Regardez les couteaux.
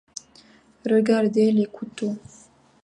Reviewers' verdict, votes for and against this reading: accepted, 2, 0